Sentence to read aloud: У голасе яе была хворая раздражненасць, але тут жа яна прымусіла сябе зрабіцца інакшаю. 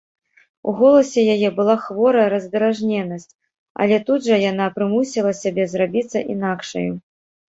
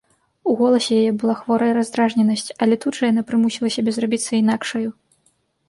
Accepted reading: second